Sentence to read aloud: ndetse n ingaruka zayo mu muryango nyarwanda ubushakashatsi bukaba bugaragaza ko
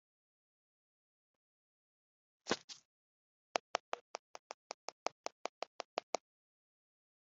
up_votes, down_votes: 3, 4